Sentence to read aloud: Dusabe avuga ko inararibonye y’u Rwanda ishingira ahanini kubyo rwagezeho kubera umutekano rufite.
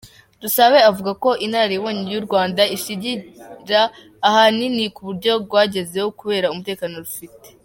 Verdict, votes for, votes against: accepted, 2, 1